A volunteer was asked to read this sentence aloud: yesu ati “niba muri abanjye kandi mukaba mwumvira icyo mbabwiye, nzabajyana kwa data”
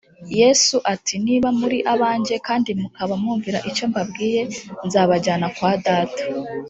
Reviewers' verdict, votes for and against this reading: accepted, 2, 0